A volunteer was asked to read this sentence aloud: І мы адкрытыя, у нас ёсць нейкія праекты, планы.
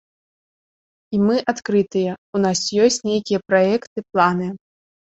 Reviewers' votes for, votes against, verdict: 2, 0, accepted